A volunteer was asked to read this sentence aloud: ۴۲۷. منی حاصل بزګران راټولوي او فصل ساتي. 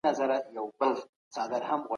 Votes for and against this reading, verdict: 0, 2, rejected